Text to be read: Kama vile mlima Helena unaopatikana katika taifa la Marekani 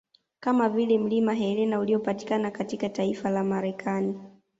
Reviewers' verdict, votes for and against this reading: rejected, 0, 2